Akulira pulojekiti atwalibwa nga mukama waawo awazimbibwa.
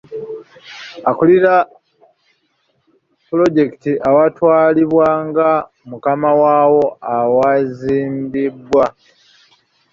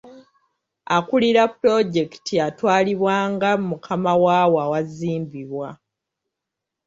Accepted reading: second